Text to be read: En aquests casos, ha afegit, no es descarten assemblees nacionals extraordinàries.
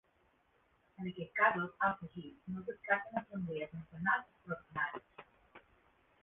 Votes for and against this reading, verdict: 0, 2, rejected